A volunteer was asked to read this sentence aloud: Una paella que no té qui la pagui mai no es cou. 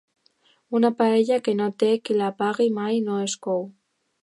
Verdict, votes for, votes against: accepted, 2, 0